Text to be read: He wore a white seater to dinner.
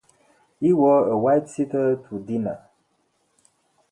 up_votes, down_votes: 2, 2